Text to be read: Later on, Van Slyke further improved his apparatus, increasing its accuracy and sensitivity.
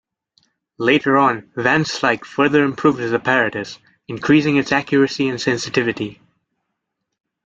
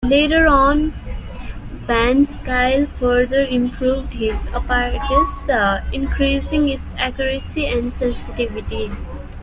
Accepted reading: first